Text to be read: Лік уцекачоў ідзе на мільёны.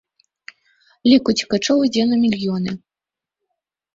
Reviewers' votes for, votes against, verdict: 2, 0, accepted